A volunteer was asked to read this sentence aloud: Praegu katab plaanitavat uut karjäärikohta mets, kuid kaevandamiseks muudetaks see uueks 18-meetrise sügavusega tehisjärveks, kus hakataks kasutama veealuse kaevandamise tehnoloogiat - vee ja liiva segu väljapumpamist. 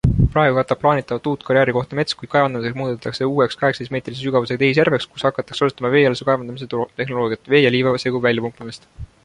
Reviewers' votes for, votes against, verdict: 0, 2, rejected